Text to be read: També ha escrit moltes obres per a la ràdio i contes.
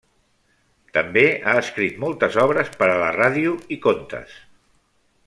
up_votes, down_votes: 3, 0